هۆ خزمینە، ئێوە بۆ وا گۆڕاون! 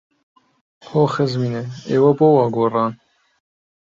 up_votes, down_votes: 0, 2